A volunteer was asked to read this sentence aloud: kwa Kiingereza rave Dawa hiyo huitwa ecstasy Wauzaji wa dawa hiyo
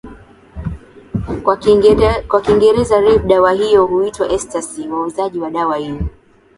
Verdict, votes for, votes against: accepted, 2, 0